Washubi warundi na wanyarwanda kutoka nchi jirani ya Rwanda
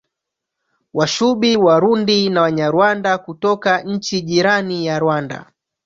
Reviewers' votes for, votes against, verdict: 0, 2, rejected